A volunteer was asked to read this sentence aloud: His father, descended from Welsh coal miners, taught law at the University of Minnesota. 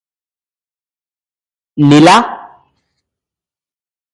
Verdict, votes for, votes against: rejected, 0, 2